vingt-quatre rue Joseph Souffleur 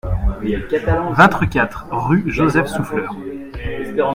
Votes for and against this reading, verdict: 1, 2, rejected